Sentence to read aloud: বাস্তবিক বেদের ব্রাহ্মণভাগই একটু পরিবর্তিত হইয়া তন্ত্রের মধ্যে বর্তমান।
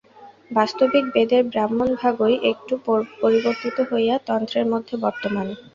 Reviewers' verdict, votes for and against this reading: rejected, 0, 2